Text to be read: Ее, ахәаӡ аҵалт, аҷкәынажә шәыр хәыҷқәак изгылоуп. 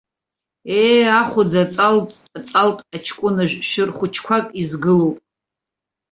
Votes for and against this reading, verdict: 0, 2, rejected